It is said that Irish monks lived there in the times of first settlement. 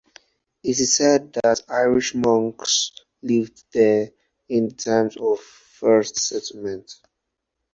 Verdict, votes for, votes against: rejected, 0, 2